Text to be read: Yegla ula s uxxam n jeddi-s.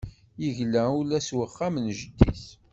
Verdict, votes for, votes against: accepted, 2, 0